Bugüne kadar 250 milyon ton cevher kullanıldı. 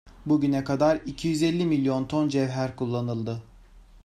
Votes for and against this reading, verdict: 0, 2, rejected